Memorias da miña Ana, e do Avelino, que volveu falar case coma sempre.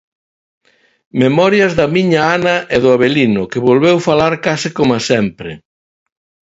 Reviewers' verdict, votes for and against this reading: accepted, 2, 0